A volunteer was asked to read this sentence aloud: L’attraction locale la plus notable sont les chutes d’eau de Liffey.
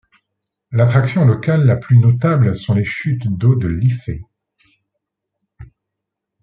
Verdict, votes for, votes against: accepted, 2, 0